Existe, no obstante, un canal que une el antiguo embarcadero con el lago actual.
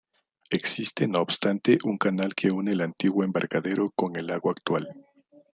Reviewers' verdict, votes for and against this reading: accepted, 2, 0